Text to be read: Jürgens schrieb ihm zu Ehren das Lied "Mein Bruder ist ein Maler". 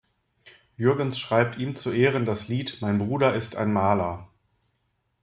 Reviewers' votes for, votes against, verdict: 1, 2, rejected